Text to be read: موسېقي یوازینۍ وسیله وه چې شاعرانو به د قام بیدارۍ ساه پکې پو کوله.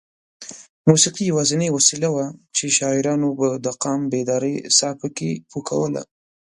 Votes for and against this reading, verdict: 2, 0, accepted